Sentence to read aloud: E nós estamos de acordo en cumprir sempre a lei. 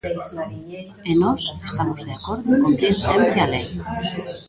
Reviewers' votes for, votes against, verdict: 0, 2, rejected